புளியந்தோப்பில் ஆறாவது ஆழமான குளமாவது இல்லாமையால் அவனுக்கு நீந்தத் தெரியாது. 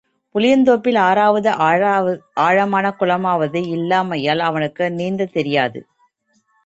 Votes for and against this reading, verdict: 1, 2, rejected